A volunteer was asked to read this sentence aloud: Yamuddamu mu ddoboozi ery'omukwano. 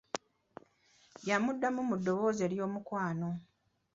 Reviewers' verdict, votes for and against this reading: accepted, 3, 0